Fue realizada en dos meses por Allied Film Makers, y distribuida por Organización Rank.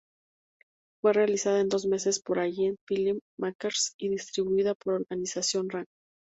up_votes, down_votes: 0, 2